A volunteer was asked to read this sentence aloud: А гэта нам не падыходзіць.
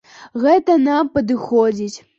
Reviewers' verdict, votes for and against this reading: rejected, 0, 2